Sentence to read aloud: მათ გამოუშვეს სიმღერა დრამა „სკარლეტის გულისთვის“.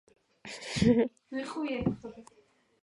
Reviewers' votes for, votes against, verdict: 1, 2, rejected